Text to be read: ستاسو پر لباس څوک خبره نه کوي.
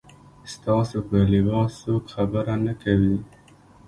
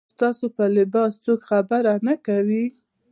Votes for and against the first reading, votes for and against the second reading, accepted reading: 1, 2, 2, 0, second